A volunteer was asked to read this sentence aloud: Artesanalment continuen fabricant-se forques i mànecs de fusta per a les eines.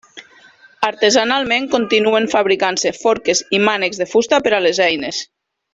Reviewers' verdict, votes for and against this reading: accepted, 4, 0